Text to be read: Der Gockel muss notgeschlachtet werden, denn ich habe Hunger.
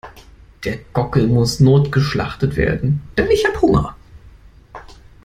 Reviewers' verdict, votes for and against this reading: accepted, 2, 0